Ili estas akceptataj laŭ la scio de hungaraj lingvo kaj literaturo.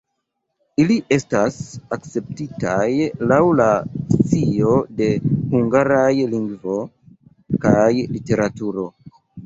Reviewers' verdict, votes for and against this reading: rejected, 1, 2